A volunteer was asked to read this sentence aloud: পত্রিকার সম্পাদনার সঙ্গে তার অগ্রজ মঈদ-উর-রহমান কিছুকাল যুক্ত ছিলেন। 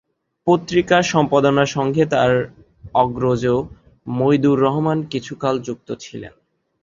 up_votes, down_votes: 7, 1